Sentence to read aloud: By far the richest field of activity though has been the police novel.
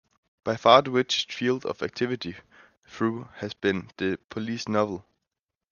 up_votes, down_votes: 0, 2